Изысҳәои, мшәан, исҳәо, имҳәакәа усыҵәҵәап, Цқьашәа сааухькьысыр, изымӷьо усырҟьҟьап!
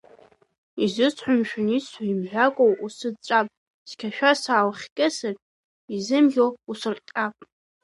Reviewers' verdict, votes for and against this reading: rejected, 0, 2